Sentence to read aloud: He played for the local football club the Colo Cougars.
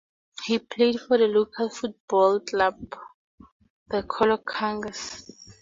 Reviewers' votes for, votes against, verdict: 2, 0, accepted